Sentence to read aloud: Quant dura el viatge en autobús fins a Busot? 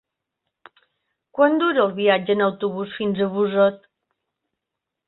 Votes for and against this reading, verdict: 3, 1, accepted